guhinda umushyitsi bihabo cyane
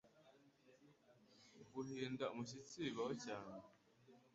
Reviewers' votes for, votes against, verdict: 1, 2, rejected